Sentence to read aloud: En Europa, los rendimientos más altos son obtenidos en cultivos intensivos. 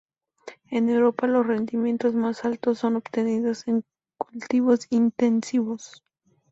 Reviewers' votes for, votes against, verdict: 2, 0, accepted